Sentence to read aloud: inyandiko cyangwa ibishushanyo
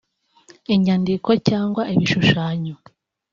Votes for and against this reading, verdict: 3, 0, accepted